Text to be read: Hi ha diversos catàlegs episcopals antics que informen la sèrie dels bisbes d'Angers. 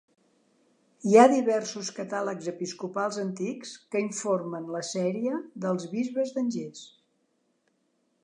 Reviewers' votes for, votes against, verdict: 2, 0, accepted